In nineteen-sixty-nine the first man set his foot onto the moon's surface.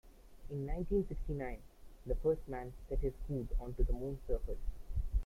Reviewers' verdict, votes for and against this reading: rejected, 1, 2